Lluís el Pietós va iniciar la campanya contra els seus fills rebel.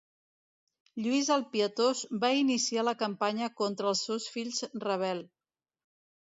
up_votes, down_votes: 2, 0